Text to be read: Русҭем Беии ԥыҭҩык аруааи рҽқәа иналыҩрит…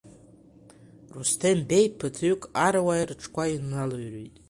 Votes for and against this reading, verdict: 1, 2, rejected